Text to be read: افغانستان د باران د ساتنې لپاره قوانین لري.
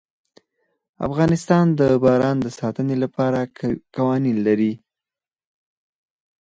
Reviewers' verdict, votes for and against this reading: rejected, 2, 4